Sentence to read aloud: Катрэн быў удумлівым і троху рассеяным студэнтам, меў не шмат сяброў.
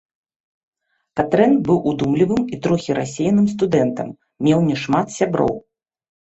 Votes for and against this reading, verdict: 2, 1, accepted